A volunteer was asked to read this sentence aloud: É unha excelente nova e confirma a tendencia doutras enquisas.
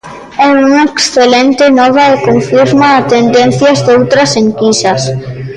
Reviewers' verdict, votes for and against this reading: rejected, 1, 2